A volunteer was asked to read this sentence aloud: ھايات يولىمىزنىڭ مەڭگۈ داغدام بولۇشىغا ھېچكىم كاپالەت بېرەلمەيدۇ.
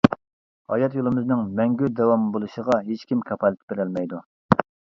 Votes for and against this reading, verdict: 0, 2, rejected